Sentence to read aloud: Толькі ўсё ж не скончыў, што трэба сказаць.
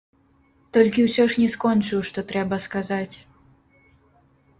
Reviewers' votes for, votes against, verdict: 0, 2, rejected